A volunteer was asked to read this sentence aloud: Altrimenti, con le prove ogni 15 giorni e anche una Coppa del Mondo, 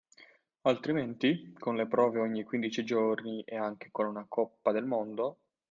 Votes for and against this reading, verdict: 0, 2, rejected